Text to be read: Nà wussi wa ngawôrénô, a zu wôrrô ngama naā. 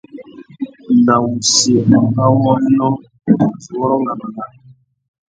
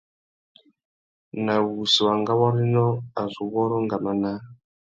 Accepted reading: second